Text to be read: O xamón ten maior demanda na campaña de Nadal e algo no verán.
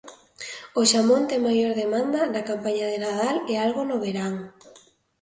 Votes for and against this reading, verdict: 2, 0, accepted